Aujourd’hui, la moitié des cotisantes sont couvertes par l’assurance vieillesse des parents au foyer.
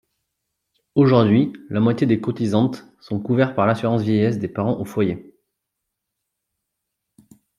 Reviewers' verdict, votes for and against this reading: accepted, 3, 0